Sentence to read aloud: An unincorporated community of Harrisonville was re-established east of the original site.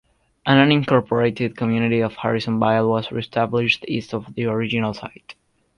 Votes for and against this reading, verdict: 1, 2, rejected